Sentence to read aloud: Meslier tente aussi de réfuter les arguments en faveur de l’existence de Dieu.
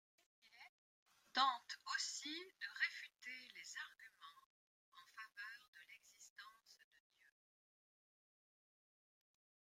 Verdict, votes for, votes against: rejected, 0, 2